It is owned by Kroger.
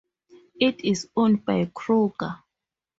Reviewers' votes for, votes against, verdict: 4, 0, accepted